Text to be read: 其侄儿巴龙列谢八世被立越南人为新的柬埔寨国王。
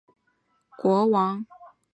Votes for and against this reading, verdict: 1, 5, rejected